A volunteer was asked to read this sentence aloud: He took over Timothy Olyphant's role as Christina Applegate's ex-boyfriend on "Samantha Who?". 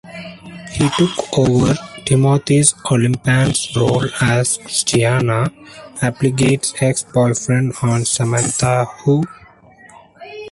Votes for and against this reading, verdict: 0, 2, rejected